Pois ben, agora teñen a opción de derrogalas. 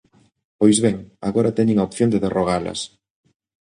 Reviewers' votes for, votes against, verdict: 2, 0, accepted